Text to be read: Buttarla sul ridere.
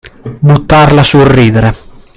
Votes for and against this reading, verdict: 2, 0, accepted